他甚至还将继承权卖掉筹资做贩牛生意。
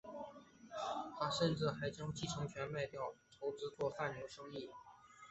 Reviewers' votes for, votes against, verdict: 2, 0, accepted